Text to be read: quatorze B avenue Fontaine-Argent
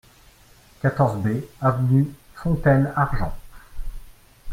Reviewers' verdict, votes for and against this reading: rejected, 1, 2